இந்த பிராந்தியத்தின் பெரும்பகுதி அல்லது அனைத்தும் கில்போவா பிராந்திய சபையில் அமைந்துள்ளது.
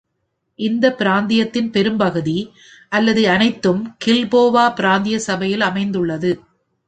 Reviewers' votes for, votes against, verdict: 2, 0, accepted